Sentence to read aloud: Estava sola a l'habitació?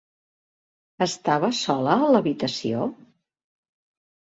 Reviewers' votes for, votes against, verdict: 4, 0, accepted